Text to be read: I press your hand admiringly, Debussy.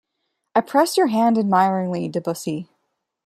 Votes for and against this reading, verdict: 2, 0, accepted